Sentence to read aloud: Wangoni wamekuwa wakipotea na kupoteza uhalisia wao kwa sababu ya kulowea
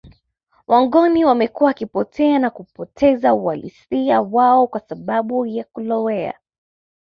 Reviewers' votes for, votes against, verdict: 1, 2, rejected